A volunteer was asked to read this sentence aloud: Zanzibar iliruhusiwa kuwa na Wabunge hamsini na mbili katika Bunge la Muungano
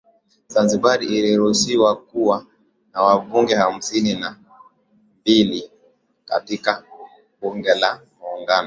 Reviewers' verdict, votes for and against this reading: accepted, 2, 0